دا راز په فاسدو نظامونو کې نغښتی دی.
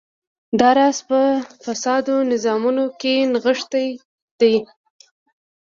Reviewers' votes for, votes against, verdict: 2, 0, accepted